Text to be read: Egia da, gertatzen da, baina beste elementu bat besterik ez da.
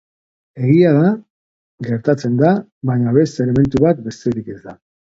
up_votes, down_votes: 3, 0